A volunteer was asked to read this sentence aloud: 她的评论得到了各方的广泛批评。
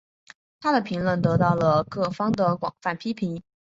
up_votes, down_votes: 6, 1